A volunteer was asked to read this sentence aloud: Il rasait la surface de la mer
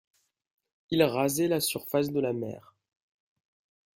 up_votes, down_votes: 2, 0